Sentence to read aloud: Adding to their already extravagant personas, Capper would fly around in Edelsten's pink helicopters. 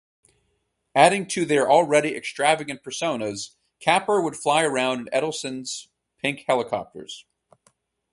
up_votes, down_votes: 4, 0